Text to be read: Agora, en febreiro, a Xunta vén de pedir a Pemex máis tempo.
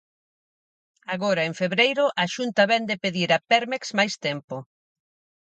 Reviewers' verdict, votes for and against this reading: rejected, 0, 4